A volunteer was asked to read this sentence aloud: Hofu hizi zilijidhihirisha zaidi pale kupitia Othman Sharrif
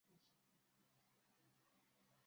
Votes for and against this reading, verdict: 0, 2, rejected